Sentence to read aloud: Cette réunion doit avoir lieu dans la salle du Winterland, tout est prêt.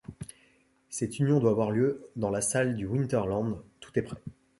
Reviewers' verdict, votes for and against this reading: rejected, 1, 2